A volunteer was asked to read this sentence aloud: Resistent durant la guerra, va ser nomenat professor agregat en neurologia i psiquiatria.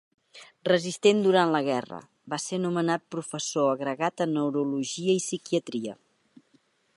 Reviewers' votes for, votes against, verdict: 2, 0, accepted